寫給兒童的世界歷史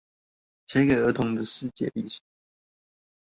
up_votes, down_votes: 0, 2